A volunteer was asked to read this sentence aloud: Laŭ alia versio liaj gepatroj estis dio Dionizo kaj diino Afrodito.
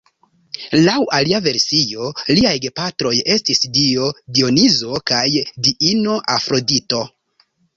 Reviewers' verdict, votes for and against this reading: accepted, 3, 0